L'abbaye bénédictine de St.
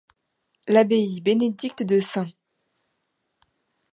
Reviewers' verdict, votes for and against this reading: rejected, 2, 3